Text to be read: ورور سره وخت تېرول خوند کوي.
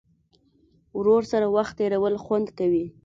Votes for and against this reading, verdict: 2, 0, accepted